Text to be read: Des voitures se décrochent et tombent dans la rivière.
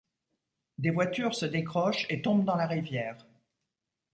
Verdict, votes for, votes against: accepted, 2, 0